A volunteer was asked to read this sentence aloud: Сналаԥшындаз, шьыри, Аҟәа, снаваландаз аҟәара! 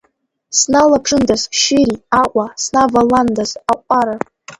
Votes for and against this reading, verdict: 0, 2, rejected